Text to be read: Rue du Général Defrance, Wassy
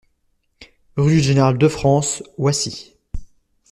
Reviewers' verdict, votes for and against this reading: rejected, 1, 2